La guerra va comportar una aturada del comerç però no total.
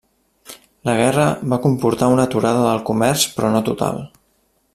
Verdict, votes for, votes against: accepted, 3, 0